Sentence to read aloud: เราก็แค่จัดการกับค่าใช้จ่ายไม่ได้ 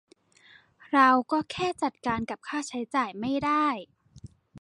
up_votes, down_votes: 2, 0